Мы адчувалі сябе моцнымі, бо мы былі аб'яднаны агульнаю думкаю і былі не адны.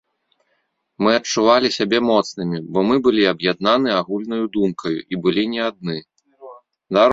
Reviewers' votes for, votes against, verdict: 1, 2, rejected